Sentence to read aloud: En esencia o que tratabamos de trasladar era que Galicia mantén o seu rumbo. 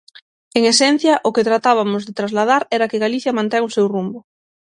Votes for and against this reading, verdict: 0, 6, rejected